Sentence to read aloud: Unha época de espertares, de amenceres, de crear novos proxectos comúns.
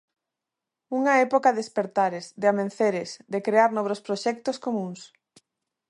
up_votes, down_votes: 1, 2